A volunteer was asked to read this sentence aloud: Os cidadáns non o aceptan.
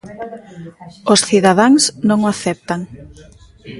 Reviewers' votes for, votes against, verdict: 1, 2, rejected